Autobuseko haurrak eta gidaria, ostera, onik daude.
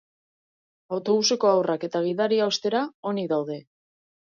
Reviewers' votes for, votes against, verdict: 2, 0, accepted